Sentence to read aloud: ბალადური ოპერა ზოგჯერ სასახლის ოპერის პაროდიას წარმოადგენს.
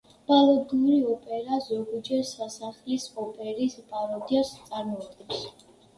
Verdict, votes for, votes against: rejected, 1, 2